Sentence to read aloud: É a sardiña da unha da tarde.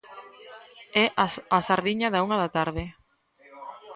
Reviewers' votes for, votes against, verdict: 0, 2, rejected